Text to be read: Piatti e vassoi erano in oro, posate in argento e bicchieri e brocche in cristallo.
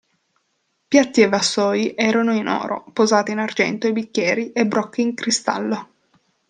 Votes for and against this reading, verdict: 2, 0, accepted